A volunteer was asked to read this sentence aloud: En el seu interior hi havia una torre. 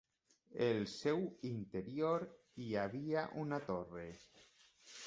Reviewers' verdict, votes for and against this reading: rejected, 1, 2